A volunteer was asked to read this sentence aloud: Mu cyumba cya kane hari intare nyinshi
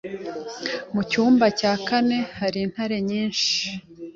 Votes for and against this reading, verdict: 2, 0, accepted